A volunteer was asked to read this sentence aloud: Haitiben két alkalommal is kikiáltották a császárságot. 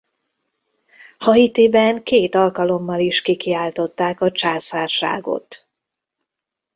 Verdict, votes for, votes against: accepted, 2, 0